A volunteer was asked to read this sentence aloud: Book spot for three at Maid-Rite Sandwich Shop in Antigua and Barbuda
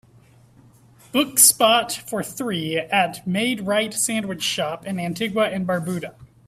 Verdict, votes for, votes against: accepted, 2, 0